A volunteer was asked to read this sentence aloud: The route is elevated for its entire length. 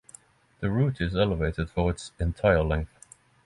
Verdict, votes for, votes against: accepted, 3, 0